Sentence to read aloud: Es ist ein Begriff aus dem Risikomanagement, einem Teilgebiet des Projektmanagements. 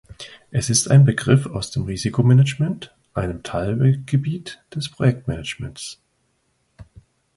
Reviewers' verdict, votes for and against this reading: rejected, 1, 2